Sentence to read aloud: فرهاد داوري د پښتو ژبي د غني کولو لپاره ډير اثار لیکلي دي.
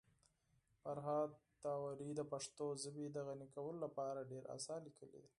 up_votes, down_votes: 2, 4